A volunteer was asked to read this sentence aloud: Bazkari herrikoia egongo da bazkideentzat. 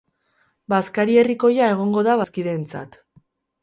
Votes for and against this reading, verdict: 2, 0, accepted